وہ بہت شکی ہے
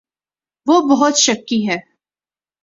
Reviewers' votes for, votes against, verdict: 2, 0, accepted